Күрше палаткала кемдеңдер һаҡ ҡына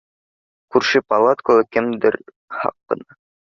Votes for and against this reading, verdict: 1, 2, rejected